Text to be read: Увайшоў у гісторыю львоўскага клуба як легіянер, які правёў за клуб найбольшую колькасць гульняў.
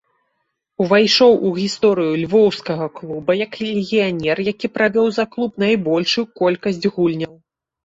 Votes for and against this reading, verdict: 1, 2, rejected